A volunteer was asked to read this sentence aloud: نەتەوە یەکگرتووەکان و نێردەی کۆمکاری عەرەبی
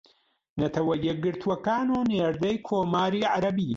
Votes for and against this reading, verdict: 2, 0, accepted